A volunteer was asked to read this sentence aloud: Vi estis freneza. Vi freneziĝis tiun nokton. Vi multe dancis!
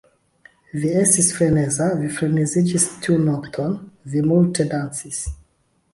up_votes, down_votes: 1, 2